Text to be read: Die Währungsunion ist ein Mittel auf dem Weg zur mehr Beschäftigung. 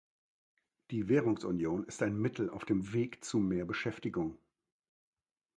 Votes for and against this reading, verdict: 2, 0, accepted